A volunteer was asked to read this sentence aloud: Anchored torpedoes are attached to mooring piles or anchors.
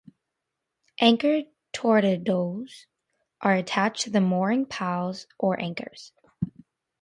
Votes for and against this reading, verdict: 0, 2, rejected